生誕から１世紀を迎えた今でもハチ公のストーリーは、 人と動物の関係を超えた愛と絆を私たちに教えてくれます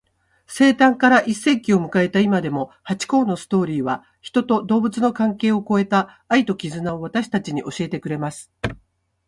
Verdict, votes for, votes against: rejected, 0, 2